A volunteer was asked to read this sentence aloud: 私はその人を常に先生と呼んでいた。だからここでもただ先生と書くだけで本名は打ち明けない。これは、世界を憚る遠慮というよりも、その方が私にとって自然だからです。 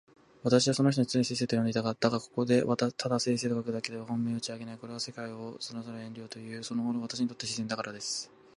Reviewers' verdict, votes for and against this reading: rejected, 1, 3